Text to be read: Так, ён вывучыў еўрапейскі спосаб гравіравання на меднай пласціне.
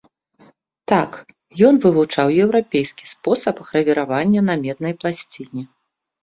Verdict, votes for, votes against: rejected, 1, 2